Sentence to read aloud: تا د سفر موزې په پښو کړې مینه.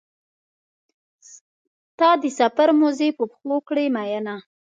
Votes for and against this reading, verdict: 2, 0, accepted